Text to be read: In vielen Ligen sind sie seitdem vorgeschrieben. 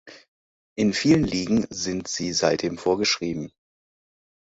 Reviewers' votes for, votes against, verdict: 2, 0, accepted